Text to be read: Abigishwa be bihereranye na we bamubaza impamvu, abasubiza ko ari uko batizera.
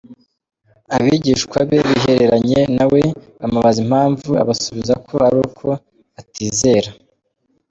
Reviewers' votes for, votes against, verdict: 2, 0, accepted